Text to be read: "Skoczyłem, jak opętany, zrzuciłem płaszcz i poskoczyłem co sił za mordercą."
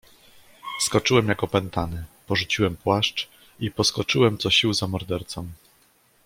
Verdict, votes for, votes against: rejected, 1, 2